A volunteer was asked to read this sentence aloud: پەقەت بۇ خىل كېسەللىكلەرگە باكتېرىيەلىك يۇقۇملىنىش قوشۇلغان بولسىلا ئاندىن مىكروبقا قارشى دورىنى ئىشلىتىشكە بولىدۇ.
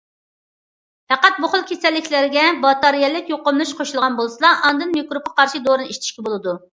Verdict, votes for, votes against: rejected, 0, 2